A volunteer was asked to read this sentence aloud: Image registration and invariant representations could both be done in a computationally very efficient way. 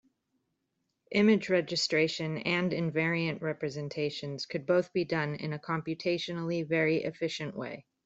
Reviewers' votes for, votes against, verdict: 2, 0, accepted